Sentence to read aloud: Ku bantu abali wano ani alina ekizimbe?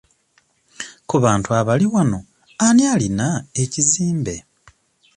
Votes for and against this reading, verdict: 2, 0, accepted